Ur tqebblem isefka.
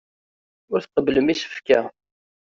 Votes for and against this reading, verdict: 2, 0, accepted